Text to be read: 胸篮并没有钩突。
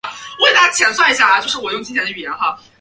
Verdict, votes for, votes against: rejected, 0, 7